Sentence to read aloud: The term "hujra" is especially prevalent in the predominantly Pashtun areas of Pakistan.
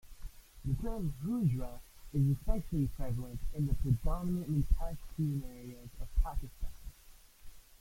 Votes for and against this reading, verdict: 0, 2, rejected